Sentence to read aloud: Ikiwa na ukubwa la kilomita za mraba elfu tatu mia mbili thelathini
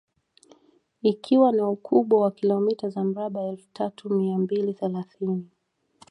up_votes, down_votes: 2, 0